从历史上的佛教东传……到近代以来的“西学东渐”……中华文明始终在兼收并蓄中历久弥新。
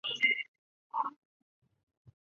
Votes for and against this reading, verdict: 0, 7, rejected